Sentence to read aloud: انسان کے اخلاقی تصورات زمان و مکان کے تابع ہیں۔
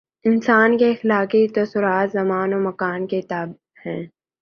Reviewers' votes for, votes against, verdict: 4, 0, accepted